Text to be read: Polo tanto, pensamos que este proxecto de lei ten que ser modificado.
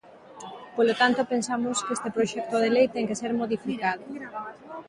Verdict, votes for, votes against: accepted, 2, 1